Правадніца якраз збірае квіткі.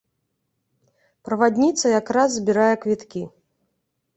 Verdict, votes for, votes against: accepted, 2, 0